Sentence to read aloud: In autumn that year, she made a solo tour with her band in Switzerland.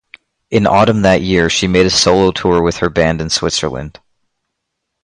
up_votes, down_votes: 2, 0